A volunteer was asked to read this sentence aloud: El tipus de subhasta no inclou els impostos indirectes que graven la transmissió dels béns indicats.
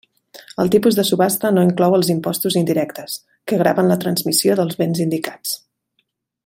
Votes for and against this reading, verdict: 3, 0, accepted